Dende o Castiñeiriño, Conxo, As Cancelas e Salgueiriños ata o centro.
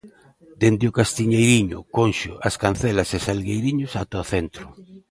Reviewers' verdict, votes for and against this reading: accepted, 2, 0